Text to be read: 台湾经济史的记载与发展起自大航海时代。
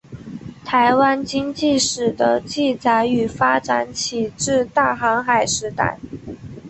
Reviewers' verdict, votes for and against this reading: accepted, 5, 0